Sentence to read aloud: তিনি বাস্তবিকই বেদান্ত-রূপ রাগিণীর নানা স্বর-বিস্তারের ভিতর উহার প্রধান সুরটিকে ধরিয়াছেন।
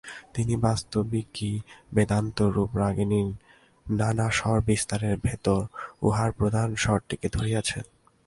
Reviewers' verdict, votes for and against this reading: rejected, 0, 2